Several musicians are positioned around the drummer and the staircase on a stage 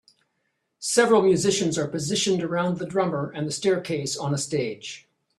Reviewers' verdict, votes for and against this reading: accepted, 2, 0